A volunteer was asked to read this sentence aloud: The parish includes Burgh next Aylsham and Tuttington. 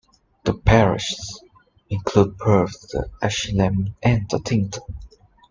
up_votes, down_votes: 0, 2